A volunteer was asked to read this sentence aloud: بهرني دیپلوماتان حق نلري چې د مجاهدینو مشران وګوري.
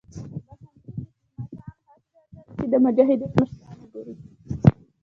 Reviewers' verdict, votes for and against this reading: rejected, 1, 2